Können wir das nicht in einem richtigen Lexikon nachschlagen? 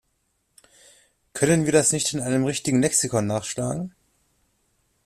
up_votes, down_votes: 2, 0